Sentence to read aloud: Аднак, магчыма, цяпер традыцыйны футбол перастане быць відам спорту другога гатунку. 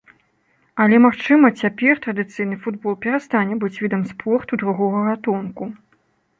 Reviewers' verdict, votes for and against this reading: rejected, 1, 2